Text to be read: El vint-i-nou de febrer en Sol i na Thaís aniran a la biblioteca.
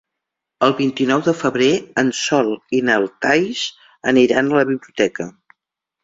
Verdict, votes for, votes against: rejected, 1, 2